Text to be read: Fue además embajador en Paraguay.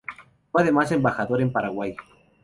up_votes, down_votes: 2, 0